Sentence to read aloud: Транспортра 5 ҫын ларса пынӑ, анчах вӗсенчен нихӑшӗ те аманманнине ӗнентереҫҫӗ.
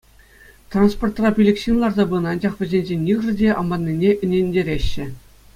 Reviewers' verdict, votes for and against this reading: rejected, 0, 2